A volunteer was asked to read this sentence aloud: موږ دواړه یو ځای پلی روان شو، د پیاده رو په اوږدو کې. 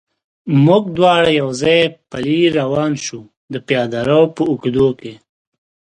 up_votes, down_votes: 2, 0